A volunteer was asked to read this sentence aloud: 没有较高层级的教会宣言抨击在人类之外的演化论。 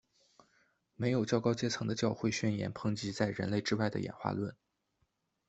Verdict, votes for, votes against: rejected, 0, 2